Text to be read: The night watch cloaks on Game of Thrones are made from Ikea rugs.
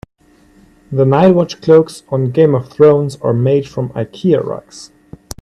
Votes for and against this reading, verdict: 2, 0, accepted